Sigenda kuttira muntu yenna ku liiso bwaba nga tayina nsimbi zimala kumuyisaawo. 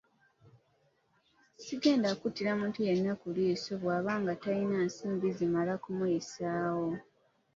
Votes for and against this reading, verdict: 0, 2, rejected